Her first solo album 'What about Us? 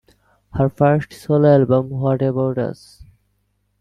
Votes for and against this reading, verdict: 2, 0, accepted